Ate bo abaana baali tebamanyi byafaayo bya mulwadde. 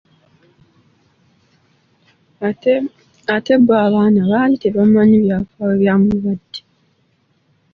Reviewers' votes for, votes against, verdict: 2, 0, accepted